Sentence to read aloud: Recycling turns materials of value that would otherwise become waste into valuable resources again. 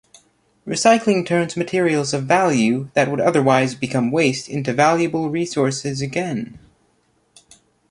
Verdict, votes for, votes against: accepted, 2, 0